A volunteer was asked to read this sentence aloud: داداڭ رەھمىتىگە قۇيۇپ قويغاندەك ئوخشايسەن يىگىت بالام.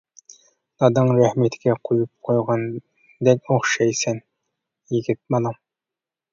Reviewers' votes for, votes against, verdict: 1, 2, rejected